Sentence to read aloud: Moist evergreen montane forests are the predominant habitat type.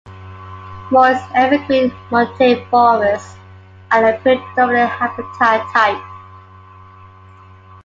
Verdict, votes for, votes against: accepted, 2, 0